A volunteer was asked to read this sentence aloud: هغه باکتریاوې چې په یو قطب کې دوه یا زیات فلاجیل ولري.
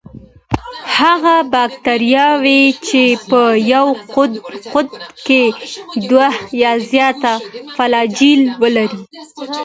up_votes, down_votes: 0, 2